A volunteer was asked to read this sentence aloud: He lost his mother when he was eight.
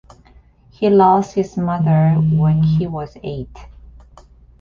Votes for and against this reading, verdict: 2, 0, accepted